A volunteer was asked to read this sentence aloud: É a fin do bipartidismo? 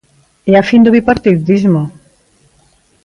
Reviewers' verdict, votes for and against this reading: rejected, 0, 2